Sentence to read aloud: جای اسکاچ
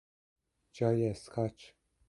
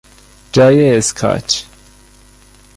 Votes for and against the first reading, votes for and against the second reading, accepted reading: 2, 0, 0, 2, first